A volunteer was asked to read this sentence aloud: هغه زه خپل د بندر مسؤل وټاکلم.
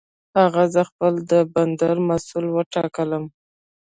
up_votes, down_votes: 2, 0